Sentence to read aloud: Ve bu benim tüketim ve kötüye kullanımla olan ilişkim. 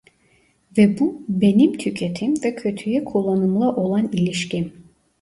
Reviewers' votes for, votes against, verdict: 2, 0, accepted